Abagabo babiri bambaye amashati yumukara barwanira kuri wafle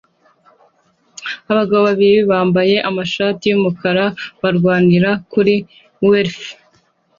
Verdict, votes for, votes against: accepted, 2, 0